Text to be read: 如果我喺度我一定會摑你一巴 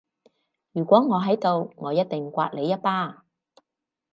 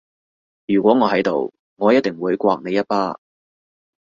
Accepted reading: second